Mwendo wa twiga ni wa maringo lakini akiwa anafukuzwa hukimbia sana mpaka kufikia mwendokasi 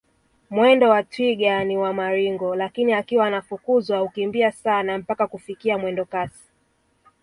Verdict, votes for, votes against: accepted, 2, 1